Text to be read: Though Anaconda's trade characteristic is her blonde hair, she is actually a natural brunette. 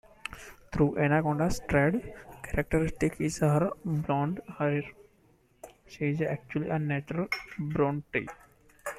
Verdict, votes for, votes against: rejected, 1, 2